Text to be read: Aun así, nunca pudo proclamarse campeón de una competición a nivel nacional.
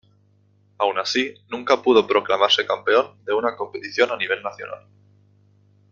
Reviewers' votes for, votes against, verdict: 2, 0, accepted